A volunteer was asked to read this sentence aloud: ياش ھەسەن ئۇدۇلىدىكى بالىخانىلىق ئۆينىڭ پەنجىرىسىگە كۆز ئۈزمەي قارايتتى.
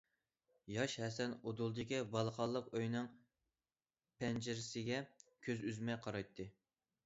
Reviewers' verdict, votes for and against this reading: accepted, 2, 0